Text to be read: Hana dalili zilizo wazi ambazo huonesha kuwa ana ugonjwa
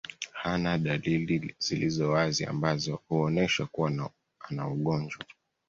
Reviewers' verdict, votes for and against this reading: rejected, 1, 2